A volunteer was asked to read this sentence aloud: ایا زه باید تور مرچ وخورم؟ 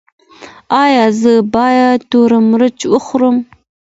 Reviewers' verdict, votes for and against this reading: accepted, 2, 0